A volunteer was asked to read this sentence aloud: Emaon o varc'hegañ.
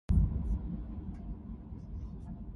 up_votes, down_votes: 0, 4